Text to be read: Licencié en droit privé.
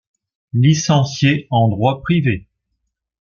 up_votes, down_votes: 2, 0